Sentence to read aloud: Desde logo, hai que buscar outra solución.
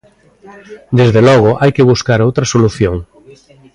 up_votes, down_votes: 2, 1